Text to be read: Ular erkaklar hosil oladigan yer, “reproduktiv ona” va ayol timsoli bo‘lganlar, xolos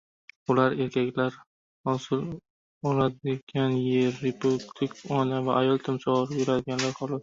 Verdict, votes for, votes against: rejected, 0, 2